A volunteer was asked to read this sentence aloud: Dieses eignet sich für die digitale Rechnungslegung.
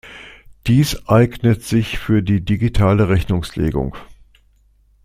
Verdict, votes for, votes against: rejected, 0, 2